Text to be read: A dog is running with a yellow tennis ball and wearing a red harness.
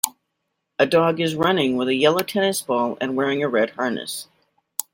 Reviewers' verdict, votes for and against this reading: accepted, 2, 0